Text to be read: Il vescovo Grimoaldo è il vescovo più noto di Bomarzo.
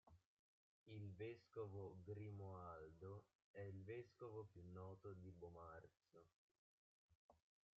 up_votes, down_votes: 0, 2